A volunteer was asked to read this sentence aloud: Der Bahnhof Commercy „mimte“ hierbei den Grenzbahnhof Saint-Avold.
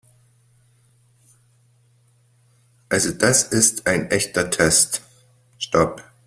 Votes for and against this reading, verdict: 0, 2, rejected